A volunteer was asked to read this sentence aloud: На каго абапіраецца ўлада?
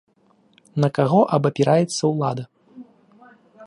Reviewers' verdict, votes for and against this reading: accepted, 2, 0